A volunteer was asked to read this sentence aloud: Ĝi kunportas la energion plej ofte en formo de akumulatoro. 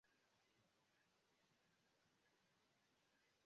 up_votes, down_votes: 0, 2